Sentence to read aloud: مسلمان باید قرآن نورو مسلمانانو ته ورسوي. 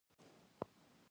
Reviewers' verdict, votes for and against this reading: rejected, 0, 2